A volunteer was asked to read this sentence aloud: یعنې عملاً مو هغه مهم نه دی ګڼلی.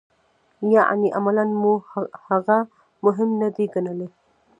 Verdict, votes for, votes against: rejected, 1, 2